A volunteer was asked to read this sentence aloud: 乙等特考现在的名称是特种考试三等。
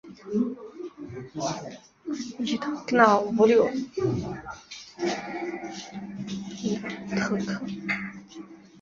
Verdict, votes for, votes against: rejected, 0, 2